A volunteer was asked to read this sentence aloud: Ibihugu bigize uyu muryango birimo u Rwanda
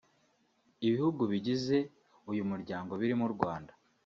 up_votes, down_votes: 2, 1